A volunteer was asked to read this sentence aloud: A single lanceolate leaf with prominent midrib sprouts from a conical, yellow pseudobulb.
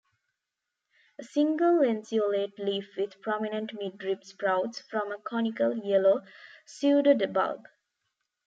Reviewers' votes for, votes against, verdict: 1, 2, rejected